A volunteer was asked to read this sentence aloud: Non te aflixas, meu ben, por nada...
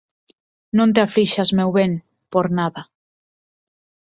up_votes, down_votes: 4, 0